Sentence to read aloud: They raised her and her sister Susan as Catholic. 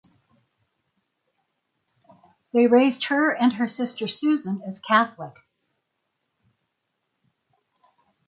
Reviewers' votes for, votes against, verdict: 6, 0, accepted